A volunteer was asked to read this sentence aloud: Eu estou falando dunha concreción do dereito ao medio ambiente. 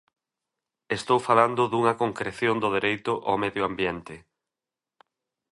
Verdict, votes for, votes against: rejected, 1, 2